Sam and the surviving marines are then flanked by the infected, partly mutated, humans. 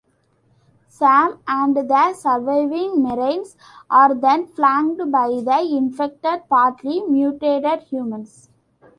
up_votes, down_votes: 2, 0